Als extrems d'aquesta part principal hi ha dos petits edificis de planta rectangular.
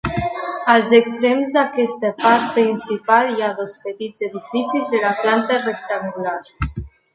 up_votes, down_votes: 1, 2